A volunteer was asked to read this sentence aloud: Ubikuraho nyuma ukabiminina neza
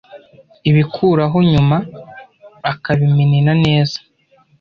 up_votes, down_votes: 1, 2